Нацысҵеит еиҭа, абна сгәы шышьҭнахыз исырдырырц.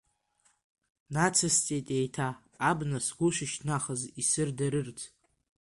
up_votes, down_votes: 1, 2